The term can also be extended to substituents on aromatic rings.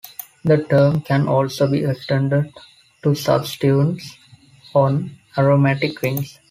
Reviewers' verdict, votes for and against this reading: rejected, 1, 2